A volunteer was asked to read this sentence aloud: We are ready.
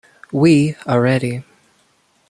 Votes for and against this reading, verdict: 2, 0, accepted